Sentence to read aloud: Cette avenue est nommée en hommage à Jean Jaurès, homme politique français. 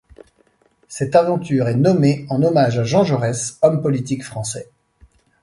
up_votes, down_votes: 1, 2